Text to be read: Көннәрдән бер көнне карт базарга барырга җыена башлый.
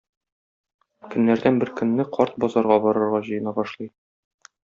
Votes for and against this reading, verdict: 1, 2, rejected